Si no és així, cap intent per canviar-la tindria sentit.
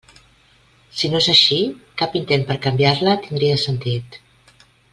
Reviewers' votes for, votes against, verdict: 3, 0, accepted